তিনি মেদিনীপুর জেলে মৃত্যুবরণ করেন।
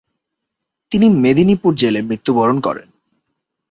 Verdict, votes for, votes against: accepted, 3, 0